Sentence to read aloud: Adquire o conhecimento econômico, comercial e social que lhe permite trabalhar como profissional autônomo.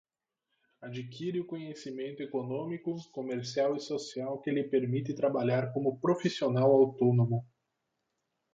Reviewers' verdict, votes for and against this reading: rejected, 0, 4